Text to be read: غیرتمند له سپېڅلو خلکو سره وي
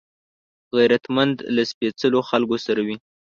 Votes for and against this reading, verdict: 2, 0, accepted